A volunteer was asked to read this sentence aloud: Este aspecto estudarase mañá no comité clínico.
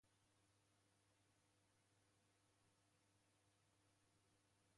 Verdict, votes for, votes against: rejected, 0, 2